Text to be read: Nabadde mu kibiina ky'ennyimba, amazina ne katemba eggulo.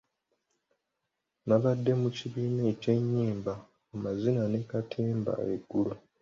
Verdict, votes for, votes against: accepted, 2, 0